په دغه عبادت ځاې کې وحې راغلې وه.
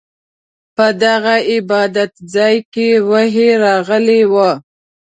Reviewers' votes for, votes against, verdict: 2, 0, accepted